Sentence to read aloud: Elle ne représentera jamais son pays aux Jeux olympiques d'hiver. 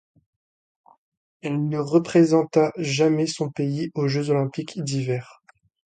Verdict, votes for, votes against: rejected, 1, 2